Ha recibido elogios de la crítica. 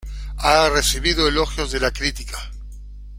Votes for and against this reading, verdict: 1, 2, rejected